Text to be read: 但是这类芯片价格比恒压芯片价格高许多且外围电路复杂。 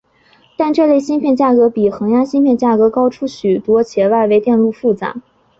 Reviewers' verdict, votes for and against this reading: accepted, 2, 1